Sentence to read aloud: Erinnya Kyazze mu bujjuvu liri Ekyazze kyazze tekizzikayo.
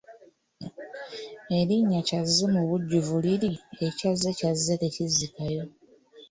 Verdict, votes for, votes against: accepted, 2, 1